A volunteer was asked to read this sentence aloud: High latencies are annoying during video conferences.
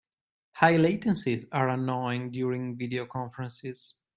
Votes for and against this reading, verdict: 2, 0, accepted